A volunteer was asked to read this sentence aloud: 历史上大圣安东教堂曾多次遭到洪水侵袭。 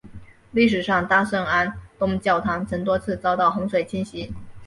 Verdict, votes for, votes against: accepted, 3, 0